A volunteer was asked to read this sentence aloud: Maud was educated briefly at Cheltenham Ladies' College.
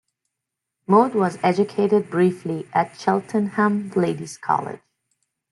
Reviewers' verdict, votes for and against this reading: accepted, 2, 0